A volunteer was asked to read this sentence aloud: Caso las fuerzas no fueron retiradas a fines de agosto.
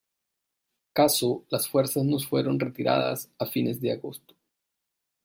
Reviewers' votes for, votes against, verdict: 0, 2, rejected